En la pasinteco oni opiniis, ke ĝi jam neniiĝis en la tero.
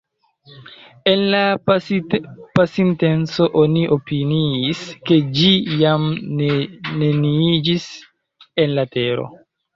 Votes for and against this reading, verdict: 0, 2, rejected